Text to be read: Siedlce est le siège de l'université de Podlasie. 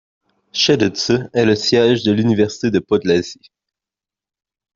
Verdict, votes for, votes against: rejected, 1, 2